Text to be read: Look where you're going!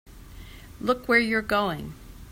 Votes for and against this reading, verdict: 2, 0, accepted